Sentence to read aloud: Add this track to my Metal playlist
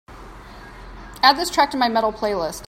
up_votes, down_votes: 2, 0